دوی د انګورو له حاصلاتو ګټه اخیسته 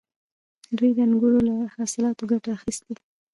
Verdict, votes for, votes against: rejected, 1, 2